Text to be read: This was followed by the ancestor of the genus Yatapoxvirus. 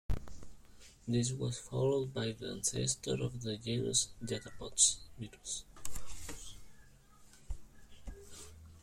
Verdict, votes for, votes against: accepted, 2, 1